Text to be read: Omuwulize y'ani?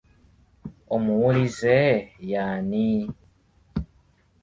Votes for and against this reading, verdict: 2, 0, accepted